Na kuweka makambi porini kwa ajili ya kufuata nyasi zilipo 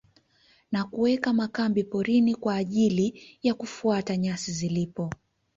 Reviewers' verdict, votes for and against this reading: accepted, 2, 0